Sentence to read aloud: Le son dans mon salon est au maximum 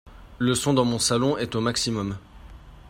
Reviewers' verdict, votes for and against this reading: accepted, 2, 0